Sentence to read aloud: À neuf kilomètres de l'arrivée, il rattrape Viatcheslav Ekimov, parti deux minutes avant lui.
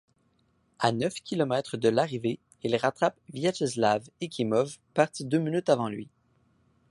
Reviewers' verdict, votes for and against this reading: accepted, 2, 0